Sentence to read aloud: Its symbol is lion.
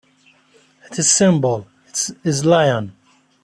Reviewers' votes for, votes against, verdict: 0, 2, rejected